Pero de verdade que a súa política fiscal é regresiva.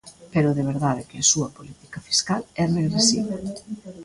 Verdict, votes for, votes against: rejected, 1, 2